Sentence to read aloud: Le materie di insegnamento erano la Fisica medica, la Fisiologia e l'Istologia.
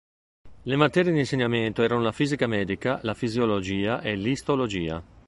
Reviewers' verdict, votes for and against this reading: accepted, 3, 0